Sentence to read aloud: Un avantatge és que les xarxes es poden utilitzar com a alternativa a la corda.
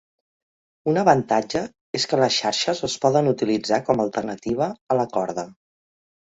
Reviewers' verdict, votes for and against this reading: accepted, 3, 0